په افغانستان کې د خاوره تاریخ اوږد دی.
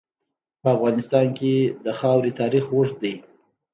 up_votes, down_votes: 2, 0